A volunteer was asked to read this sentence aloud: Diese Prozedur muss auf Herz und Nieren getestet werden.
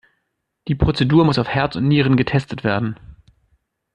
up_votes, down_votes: 0, 2